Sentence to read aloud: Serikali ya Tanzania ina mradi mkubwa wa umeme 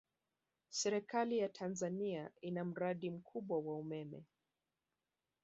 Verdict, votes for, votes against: accepted, 2, 0